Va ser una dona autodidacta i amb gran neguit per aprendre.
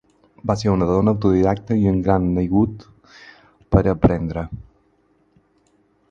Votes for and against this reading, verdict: 2, 2, rejected